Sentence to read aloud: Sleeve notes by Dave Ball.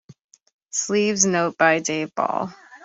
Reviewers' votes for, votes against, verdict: 1, 3, rejected